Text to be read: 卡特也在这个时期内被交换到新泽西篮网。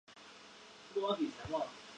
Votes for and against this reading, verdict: 0, 2, rejected